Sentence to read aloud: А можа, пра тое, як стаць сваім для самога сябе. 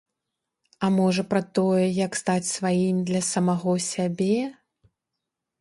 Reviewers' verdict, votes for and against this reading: rejected, 1, 2